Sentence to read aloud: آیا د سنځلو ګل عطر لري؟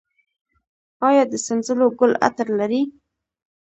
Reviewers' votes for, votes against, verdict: 2, 0, accepted